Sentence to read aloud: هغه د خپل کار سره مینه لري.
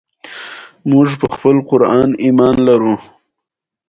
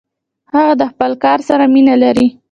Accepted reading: first